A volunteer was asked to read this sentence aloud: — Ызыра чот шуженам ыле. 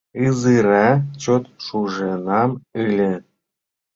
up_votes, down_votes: 2, 1